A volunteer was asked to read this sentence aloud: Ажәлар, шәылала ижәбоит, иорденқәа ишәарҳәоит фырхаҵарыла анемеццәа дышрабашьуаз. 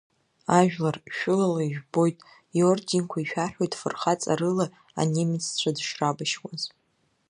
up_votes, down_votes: 1, 2